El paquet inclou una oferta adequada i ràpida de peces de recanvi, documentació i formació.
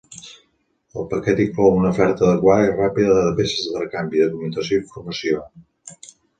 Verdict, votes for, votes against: rejected, 1, 2